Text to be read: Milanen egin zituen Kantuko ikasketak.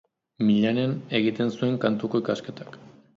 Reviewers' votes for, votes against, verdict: 1, 2, rejected